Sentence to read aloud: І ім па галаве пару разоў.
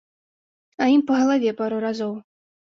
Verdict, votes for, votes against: rejected, 0, 2